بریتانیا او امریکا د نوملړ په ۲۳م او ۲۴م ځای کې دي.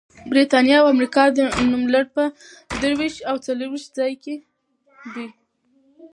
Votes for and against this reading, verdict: 0, 2, rejected